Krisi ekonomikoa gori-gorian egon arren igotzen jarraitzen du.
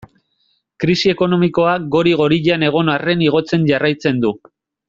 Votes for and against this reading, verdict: 2, 0, accepted